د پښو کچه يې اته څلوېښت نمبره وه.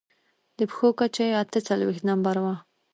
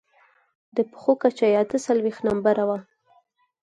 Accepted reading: second